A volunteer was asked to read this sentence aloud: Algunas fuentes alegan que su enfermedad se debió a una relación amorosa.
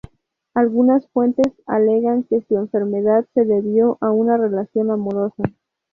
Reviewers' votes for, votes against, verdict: 0, 2, rejected